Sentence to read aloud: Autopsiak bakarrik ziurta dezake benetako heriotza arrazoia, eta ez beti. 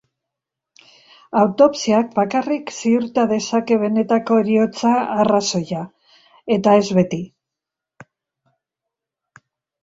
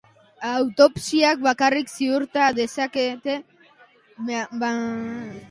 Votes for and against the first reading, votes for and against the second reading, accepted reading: 2, 1, 0, 2, first